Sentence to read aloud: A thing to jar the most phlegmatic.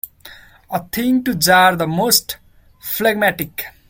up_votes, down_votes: 2, 0